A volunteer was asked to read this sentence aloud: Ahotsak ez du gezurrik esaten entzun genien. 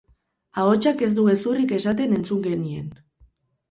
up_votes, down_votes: 0, 2